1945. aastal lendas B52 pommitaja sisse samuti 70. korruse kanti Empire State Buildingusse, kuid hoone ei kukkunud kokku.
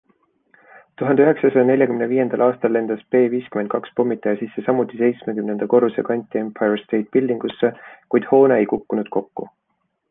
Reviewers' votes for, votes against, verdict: 0, 2, rejected